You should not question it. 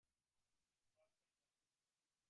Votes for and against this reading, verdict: 0, 2, rejected